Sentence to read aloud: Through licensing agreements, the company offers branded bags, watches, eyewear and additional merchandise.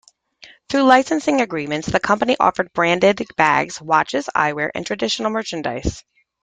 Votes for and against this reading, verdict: 0, 2, rejected